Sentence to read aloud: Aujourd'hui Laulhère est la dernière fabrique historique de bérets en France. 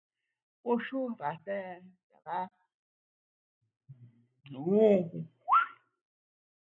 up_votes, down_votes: 0, 2